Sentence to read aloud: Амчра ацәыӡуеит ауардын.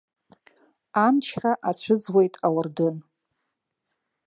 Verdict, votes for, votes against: accepted, 2, 0